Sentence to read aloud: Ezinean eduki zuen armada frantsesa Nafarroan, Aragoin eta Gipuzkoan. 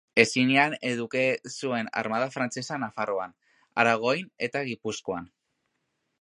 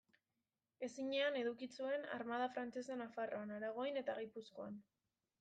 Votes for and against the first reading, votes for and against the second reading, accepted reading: 1, 3, 2, 0, second